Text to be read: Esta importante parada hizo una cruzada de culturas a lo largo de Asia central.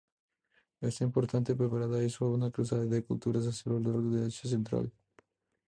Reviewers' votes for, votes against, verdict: 0, 2, rejected